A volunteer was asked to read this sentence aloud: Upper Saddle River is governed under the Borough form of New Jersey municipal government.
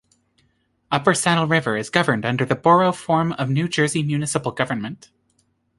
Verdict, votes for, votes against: accepted, 2, 0